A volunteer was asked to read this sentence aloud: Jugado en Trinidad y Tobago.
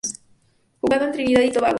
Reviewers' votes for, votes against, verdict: 0, 2, rejected